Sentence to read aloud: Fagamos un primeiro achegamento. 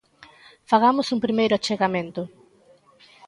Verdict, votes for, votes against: accepted, 2, 0